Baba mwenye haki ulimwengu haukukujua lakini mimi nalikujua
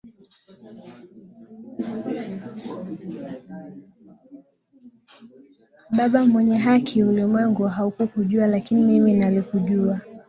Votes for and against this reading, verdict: 0, 2, rejected